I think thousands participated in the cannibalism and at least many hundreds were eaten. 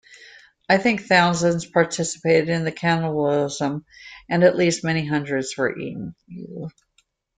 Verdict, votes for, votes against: rejected, 1, 2